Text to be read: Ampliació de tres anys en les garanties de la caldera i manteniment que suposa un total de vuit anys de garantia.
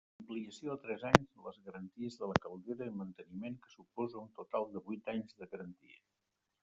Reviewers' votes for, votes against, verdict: 0, 2, rejected